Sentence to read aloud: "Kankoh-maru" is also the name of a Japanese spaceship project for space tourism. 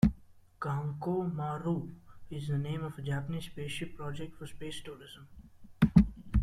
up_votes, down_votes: 0, 2